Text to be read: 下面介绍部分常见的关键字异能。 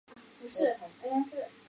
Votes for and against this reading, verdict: 0, 3, rejected